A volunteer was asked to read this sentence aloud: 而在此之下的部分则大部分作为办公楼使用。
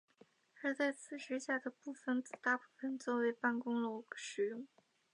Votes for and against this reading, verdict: 6, 0, accepted